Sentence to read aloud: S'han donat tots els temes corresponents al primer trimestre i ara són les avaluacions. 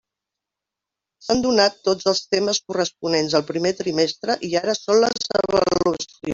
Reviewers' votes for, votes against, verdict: 0, 2, rejected